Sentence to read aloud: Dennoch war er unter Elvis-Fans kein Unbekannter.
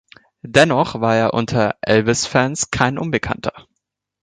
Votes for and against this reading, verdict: 2, 0, accepted